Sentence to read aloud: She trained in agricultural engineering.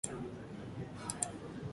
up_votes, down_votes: 0, 2